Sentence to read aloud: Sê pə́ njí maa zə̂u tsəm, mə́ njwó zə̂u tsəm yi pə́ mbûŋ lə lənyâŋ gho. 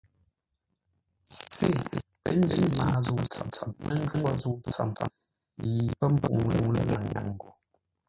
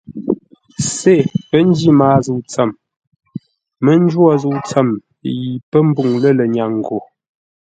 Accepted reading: second